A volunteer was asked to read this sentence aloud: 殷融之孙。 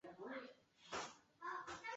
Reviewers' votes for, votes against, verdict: 0, 2, rejected